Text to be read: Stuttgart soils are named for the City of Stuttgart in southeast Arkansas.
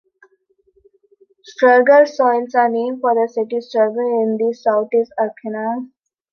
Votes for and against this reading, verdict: 2, 1, accepted